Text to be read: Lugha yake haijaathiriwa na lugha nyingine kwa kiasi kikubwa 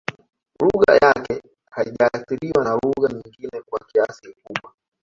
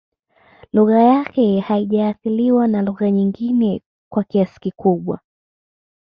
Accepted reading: second